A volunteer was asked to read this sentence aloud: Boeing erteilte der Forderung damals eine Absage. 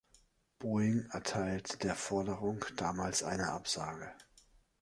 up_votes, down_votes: 0, 2